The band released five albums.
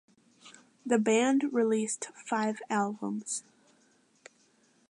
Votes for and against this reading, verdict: 2, 0, accepted